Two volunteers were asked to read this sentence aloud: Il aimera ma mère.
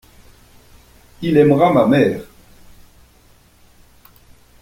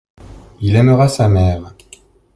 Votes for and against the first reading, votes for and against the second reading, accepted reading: 2, 0, 0, 2, first